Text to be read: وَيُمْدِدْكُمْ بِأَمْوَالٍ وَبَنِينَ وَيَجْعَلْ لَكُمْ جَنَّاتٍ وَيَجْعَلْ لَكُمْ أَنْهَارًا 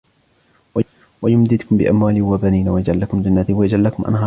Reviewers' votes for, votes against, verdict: 0, 2, rejected